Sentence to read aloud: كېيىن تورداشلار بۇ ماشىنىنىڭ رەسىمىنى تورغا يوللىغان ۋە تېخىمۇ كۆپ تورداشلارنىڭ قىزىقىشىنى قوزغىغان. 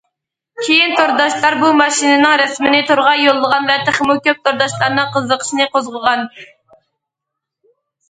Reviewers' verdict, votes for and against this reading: accepted, 2, 0